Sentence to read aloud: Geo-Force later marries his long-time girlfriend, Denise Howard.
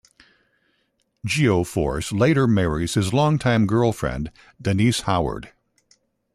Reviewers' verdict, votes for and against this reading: accepted, 2, 0